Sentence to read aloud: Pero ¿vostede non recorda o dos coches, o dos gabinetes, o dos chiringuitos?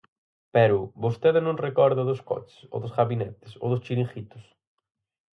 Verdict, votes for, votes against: accepted, 4, 0